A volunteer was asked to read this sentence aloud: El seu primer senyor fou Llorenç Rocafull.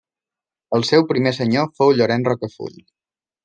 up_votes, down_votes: 2, 0